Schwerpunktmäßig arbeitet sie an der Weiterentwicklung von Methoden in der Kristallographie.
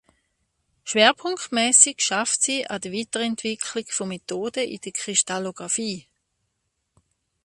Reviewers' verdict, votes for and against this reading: rejected, 1, 2